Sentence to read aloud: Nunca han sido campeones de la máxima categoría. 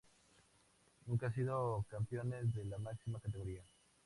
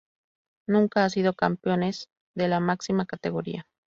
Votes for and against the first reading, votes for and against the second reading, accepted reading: 2, 0, 0, 2, first